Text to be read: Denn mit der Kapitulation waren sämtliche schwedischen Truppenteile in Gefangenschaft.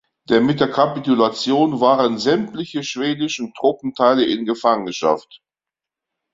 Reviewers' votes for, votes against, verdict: 2, 1, accepted